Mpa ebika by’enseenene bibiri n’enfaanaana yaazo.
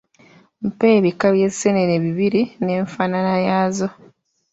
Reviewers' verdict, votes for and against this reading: rejected, 1, 2